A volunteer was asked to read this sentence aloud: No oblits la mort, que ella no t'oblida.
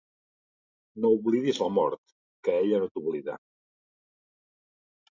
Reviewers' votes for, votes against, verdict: 1, 2, rejected